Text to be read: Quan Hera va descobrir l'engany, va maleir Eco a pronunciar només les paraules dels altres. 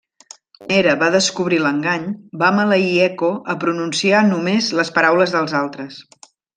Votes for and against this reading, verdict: 0, 2, rejected